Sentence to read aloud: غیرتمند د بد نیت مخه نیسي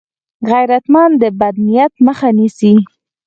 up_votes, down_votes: 4, 0